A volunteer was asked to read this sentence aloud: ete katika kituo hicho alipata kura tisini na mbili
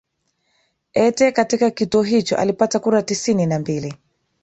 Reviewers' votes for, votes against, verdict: 2, 1, accepted